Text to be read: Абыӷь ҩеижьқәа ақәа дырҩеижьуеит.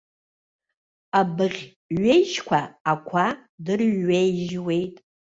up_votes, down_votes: 0, 2